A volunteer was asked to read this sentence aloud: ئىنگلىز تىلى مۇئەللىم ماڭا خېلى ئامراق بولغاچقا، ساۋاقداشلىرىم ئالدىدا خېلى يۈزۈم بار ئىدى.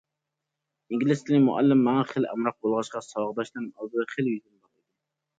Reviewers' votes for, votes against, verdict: 1, 2, rejected